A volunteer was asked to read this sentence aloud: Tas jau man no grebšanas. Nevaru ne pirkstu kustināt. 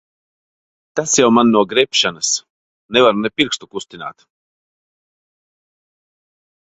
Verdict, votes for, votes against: accepted, 2, 0